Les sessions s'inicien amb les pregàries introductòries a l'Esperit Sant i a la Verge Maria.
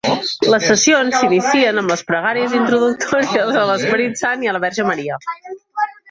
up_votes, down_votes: 1, 2